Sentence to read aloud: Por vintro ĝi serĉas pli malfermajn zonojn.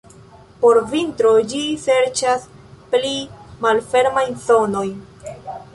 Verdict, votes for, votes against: accepted, 2, 1